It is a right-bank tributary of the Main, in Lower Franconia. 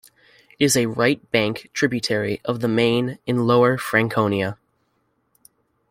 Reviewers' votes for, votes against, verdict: 0, 2, rejected